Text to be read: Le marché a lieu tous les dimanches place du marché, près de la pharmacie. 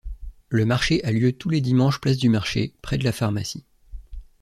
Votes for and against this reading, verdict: 2, 0, accepted